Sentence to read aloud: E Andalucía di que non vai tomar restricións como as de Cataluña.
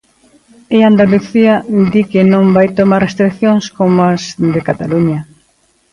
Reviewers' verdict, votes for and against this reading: accepted, 2, 0